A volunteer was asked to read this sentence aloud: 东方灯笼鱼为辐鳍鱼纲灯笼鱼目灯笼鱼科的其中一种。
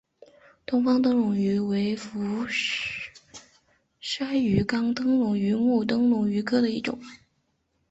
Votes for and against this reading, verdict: 0, 5, rejected